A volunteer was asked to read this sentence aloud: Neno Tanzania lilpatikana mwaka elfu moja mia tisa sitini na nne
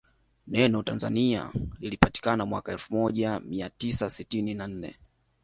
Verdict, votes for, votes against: accepted, 2, 1